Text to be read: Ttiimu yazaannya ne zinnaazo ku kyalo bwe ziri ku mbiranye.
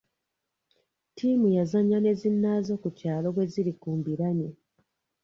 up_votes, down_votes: 2, 0